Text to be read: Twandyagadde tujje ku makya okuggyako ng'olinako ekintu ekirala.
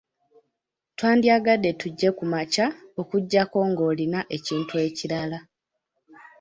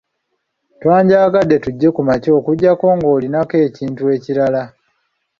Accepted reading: second